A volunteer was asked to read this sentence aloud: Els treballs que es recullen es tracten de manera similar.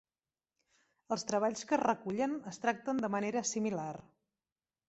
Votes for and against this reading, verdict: 3, 0, accepted